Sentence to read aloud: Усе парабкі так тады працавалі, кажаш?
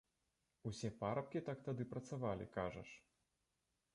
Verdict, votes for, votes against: rejected, 1, 2